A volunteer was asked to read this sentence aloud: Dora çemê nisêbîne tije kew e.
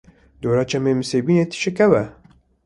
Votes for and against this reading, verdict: 2, 0, accepted